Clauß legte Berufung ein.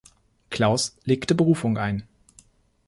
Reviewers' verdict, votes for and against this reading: accepted, 2, 0